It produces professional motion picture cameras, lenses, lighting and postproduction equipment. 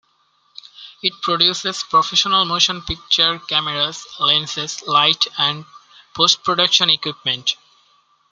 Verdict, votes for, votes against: accepted, 2, 1